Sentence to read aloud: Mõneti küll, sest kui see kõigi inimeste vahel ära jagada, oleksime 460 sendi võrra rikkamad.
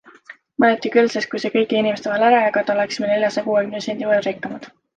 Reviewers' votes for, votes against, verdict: 0, 2, rejected